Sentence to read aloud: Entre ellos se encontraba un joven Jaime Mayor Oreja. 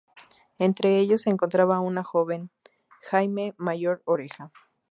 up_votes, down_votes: 0, 4